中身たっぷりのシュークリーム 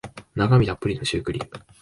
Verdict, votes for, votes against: rejected, 0, 2